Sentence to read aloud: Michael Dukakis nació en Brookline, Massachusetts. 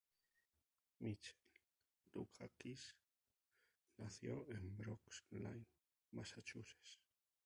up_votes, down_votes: 0, 2